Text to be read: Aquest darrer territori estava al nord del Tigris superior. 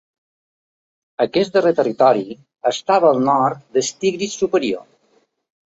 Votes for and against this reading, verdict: 1, 2, rejected